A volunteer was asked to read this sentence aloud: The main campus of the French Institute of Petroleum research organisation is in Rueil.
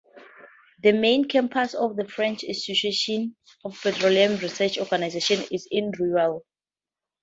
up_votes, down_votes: 0, 2